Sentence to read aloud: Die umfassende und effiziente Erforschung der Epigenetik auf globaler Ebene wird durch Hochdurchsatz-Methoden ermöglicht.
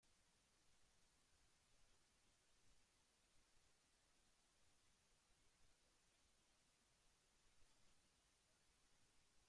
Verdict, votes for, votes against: rejected, 0, 2